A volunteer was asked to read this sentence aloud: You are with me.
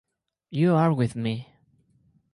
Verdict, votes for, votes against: accepted, 4, 0